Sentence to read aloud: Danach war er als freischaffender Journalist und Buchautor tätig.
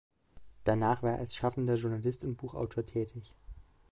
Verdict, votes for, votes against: rejected, 0, 2